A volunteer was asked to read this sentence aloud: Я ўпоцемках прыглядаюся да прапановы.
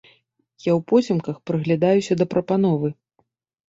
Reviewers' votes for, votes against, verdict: 2, 0, accepted